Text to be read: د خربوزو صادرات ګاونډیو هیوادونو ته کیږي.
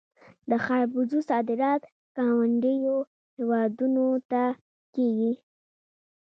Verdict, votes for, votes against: accepted, 2, 1